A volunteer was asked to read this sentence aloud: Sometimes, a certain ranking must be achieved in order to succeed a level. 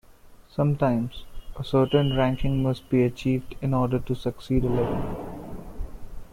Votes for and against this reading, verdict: 2, 0, accepted